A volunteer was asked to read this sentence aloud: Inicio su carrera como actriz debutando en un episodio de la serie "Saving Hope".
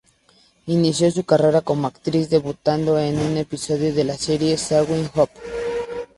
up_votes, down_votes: 2, 0